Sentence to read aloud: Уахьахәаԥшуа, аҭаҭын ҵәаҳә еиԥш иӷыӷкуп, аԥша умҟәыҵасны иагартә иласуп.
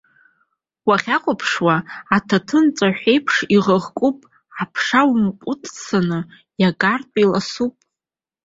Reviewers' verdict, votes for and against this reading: rejected, 1, 2